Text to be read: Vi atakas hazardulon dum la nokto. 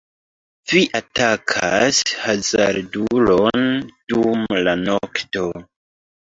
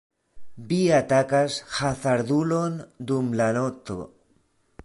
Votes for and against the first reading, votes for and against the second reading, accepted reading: 2, 1, 0, 2, first